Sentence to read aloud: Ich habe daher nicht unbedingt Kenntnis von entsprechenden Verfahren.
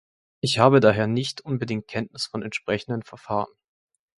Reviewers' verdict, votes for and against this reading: accepted, 2, 0